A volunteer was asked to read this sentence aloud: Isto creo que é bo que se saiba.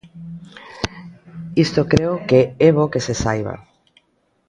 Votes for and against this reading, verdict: 2, 0, accepted